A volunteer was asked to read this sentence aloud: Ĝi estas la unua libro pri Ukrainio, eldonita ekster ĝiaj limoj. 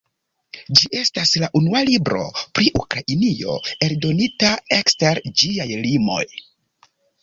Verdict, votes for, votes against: accepted, 2, 0